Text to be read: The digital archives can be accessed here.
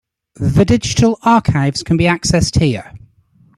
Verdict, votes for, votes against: accepted, 2, 0